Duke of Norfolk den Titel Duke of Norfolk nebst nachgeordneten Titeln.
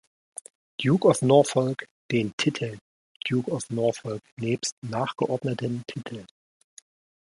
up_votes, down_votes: 2, 1